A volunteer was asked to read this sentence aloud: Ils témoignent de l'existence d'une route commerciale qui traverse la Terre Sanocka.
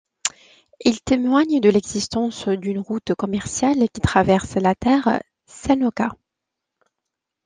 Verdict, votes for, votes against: accepted, 2, 0